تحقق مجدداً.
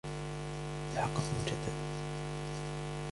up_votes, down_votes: 2, 0